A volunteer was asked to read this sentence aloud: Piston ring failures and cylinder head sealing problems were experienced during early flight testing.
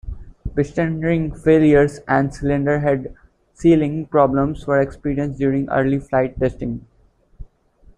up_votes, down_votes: 2, 0